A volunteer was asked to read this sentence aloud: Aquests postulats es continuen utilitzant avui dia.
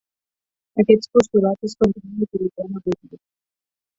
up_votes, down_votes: 2, 4